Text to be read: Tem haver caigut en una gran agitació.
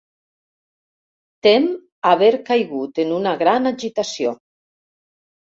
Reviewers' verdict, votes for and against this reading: rejected, 1, 2